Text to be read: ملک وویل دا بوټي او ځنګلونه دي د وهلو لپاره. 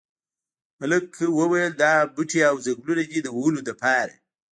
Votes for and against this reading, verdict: 1, 2, rejected